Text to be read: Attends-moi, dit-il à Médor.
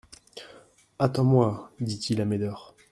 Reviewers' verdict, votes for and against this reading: accepted, 2, 0